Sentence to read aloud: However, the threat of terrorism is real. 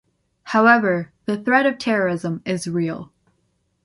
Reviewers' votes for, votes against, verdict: 2, 0, accepted